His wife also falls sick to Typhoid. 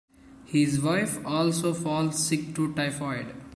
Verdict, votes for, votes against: accepted, 2, 0